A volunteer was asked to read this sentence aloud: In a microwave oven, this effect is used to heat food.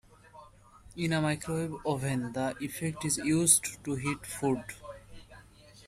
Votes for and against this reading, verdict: 0, 2, rejected